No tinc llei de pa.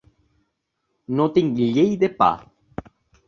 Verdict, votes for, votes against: rejected, 0, 2